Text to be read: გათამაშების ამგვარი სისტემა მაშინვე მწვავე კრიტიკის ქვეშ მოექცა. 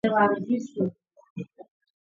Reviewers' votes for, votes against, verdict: 0, 2, rejected